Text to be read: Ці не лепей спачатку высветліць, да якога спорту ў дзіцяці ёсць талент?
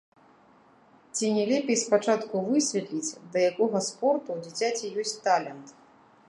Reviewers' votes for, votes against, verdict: 0, 2, rejected